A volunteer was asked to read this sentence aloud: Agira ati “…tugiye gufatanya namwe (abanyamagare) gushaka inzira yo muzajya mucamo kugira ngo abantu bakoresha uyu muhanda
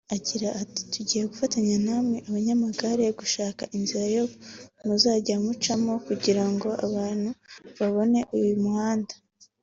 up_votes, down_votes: 0, 2